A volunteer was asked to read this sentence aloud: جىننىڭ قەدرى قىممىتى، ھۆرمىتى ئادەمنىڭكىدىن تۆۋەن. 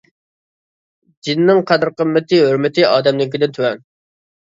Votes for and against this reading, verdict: 2, 1, accepted